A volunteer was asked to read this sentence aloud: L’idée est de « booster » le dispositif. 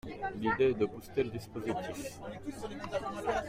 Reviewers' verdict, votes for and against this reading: rejected, 0, 2